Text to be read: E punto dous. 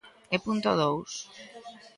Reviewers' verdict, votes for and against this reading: accepted, 2, 0